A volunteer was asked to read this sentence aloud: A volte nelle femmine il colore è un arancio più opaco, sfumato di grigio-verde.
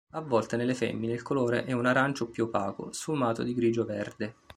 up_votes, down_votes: 2, 0